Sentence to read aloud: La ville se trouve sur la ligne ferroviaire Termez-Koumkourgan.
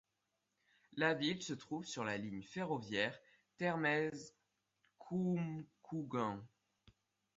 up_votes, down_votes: 1, 2